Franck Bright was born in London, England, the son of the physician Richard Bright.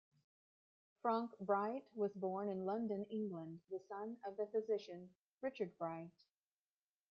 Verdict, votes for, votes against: rejected, 1, 2